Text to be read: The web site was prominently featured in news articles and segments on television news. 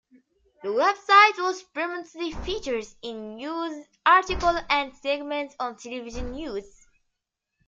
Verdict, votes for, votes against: accepted, 2, 0